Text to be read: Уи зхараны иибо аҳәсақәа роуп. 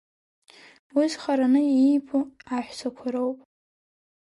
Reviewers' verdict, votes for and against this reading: accepted, 3, 1